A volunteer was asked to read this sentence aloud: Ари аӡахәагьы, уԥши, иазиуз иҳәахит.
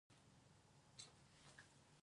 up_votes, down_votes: 0, 2